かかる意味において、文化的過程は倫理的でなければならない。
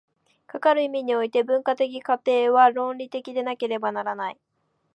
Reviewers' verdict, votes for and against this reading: accepted, 2, 0